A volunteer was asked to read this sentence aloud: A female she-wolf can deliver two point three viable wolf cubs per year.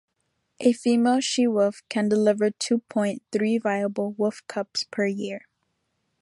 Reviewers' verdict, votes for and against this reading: accepted, 3, 0